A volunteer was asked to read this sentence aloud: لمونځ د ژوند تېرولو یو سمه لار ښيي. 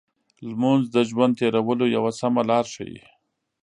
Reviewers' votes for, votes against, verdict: 2, 0, accepted